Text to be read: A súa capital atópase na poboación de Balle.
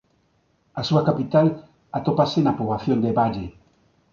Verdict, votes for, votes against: accepted, 2, 1